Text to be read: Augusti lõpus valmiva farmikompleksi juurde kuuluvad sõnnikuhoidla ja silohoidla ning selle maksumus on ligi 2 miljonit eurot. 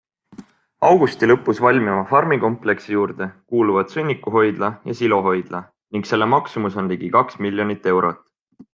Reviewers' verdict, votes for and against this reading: rejected, 0, 2